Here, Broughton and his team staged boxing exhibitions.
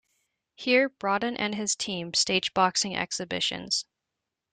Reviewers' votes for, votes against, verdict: 0, 2, rejected